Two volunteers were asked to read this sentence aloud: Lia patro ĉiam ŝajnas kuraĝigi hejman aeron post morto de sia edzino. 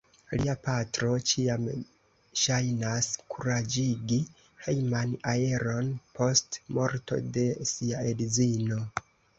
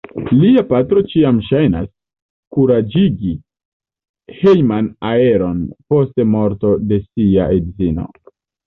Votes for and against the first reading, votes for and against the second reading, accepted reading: 0, 2, 2, 0, second